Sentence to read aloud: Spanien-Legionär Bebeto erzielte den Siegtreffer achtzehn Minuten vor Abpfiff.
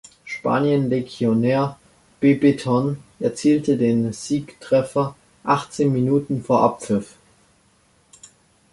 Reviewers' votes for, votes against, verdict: 0, 2, rejected